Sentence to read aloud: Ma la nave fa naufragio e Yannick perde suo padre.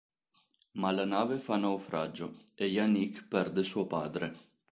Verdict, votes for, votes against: accepted, 3, 0